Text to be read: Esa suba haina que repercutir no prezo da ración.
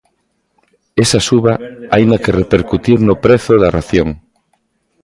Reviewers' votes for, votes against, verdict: 2, 1, accepted